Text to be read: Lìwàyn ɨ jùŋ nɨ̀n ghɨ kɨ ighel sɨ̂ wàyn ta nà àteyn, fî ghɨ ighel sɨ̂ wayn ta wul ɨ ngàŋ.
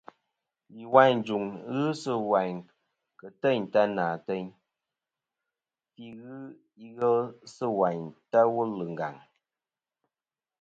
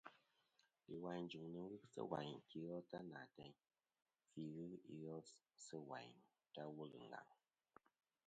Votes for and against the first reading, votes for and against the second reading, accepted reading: 2, 0, 0, 2, first